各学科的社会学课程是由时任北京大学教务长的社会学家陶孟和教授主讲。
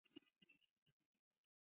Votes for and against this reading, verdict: 0, 2, rejected